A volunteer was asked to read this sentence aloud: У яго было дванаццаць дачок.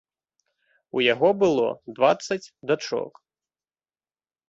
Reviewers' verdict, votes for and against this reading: rejected, 0, 2